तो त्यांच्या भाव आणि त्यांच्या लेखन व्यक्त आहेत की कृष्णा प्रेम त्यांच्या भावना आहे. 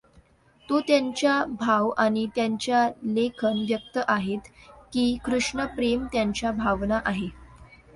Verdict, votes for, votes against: rejected, 0, 2